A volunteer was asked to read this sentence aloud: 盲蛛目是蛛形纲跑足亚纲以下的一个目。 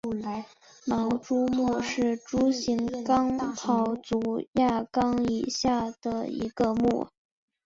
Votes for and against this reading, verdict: 1, 2, rejected